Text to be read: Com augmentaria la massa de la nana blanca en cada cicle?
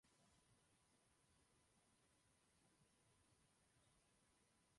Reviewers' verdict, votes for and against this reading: rejected, 0, 2